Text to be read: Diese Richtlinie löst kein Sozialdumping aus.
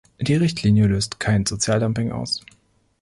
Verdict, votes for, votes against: rejected, 0, 2